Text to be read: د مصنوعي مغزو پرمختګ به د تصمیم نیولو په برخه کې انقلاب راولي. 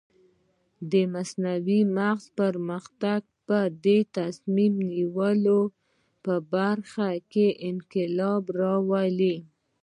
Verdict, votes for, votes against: rejected, 1, 2